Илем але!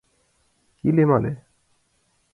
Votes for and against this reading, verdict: 2, 0, accepted